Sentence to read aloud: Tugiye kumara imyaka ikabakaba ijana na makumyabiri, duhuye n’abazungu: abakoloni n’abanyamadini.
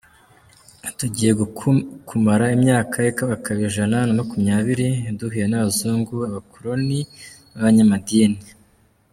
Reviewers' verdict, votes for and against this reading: rejected, 1, 2